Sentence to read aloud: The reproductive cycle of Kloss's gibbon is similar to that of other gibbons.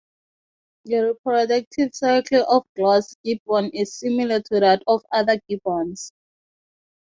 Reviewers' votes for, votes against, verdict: 0, 6, rejected